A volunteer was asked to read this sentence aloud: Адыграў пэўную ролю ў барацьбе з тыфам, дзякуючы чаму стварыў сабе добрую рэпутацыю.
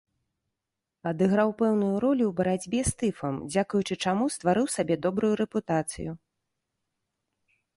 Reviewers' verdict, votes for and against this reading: accepted, 2, 0